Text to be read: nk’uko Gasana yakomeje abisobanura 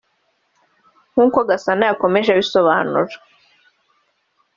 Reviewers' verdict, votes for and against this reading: accepted, 2, 0